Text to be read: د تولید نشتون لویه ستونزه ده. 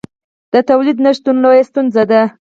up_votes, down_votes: 4, 2